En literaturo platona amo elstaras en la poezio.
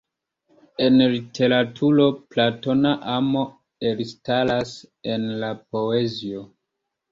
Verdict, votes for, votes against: rejected, 0, 2